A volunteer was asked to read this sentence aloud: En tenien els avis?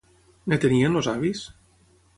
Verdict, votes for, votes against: rejected, 0, 3